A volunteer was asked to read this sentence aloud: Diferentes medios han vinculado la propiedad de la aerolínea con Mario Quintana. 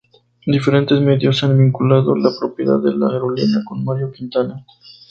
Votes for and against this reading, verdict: 2, 0, accepted